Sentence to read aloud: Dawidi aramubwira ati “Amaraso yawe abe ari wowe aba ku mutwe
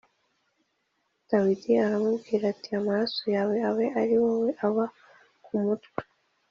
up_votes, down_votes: 2, 0